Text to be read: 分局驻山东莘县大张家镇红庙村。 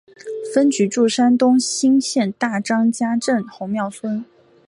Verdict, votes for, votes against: rejected, 0, 2